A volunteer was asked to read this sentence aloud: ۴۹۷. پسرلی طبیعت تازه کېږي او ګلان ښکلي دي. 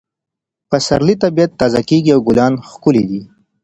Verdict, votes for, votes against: rejected, 0, 2